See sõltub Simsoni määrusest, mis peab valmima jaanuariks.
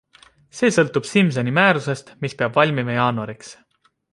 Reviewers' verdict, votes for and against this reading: accepted, 2, 0